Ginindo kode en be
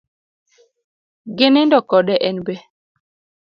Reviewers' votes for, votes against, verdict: 2, 0, accepted